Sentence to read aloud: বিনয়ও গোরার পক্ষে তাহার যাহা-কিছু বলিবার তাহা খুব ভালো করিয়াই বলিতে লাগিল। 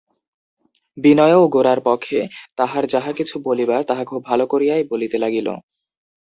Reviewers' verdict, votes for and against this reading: rejected, 0, 2